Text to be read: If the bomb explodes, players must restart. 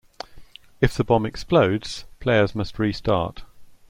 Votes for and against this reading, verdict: 2, 0, accepted